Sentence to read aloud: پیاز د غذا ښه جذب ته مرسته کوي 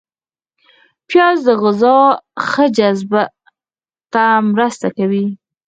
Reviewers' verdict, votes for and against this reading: rejected, 2, 4